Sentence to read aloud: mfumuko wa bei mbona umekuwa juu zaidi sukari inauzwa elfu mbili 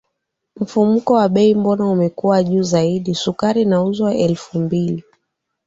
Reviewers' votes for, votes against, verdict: 10, 0, accepted